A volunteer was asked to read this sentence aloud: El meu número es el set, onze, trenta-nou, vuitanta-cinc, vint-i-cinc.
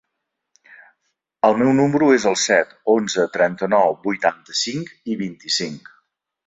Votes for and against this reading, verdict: 2, 4, rejected